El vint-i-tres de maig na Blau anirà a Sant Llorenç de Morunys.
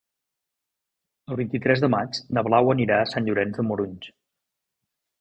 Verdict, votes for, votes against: accepted, 3, 0